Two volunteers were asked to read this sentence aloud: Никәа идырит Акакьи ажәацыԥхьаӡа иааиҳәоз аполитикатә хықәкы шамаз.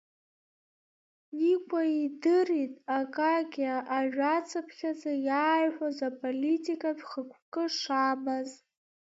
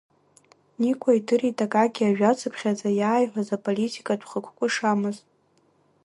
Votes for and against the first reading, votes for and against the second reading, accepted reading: 1, 2, 2, 1, second